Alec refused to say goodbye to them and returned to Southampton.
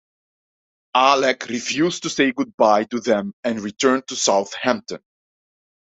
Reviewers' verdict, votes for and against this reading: rejected, 0, 2